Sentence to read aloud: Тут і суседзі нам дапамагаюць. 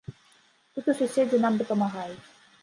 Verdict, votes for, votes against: rejected, 1, 2